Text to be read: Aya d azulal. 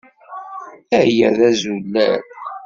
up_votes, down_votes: 0, 2